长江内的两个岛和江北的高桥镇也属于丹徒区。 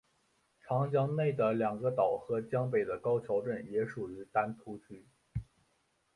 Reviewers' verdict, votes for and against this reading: accepted, 2, 0